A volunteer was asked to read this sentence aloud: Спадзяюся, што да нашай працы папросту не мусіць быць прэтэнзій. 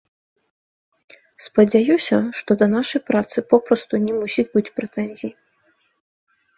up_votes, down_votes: 0, 2